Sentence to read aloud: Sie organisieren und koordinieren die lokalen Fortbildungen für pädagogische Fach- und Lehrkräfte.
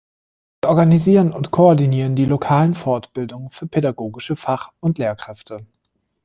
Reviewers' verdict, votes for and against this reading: rejected, 1, 2